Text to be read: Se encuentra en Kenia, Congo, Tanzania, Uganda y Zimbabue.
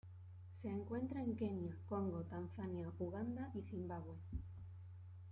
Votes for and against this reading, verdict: 1, 2, rejected